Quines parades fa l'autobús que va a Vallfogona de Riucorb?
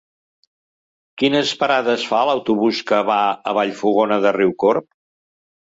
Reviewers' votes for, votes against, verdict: 2, 0, accepted